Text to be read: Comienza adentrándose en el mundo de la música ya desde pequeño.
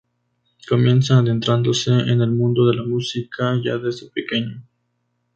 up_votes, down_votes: 2, 0